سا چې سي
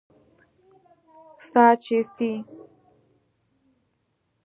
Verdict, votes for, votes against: accepted, 2, 0